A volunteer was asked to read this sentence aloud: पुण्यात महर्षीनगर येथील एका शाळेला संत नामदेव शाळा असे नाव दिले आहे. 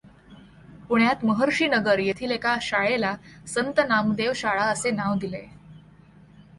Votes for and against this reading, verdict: 2, 0, accepted